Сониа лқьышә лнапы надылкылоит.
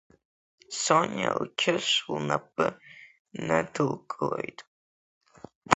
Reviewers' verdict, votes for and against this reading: rejected, 1, 2